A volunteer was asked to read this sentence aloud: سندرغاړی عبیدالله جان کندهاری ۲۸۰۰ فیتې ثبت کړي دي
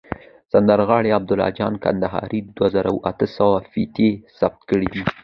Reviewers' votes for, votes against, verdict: 0, 2, rejected